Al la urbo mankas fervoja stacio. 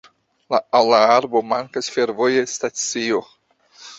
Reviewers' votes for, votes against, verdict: 1, 2, rejected